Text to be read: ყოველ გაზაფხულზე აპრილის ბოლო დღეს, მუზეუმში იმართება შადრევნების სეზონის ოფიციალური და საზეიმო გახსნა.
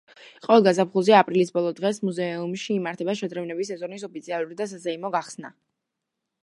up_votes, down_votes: 1, 2